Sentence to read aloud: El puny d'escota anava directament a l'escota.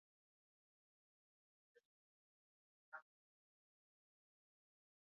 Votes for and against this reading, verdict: 0, 2, rejected